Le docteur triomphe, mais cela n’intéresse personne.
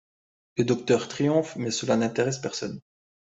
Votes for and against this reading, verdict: 2, 0, accepted